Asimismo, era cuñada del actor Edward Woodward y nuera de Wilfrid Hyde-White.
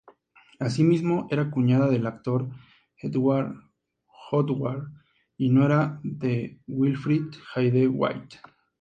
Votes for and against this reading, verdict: 2, 0, accepted